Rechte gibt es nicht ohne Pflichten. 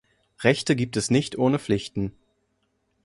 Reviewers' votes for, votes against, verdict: 2, 0, accepted